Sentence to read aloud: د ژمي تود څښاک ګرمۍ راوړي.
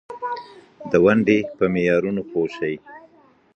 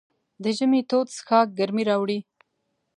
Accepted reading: second